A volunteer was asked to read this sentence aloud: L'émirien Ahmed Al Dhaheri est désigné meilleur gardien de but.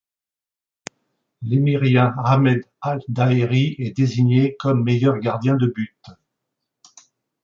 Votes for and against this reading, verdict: 1, 2, rejected